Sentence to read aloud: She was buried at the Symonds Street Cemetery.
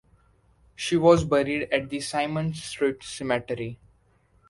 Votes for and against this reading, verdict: 1, 2, rejected